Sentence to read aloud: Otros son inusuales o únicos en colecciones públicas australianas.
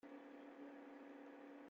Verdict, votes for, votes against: rejected, 0, 2